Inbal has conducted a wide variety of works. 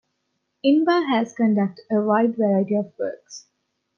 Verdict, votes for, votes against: rejected, 1, 2